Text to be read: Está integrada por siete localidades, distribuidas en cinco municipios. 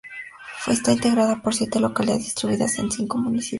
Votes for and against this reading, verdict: 0, 4, rejected